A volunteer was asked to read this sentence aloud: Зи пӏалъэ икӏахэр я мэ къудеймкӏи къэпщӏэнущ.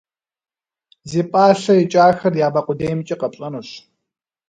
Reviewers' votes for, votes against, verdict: 2, 0, accepted